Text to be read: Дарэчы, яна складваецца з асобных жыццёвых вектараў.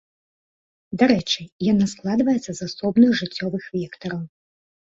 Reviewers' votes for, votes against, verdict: 2, 0, accepted